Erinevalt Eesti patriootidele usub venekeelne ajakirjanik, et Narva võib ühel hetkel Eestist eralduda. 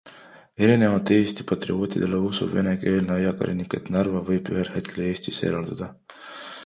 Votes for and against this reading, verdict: 2, 0, accepted